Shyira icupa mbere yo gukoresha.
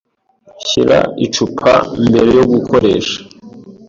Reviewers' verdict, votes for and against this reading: accepted, 2, 0